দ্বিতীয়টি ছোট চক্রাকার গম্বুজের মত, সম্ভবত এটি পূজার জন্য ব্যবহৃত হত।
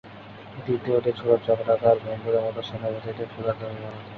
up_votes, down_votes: 1, 2